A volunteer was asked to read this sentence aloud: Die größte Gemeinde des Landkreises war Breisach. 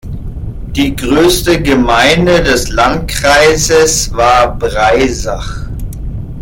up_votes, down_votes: 1, 2